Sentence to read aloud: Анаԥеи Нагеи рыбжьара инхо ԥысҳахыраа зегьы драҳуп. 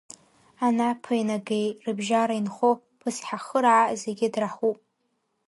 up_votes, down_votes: 1, 2